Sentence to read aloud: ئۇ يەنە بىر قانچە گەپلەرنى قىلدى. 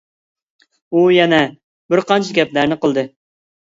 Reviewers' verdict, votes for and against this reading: accepted, 2, 0